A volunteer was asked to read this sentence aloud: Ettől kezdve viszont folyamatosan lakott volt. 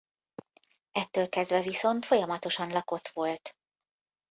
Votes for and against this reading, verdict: 2, 0, accepted